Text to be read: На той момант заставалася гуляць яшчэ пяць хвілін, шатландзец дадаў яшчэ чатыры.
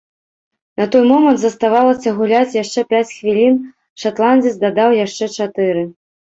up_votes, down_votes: 2, 0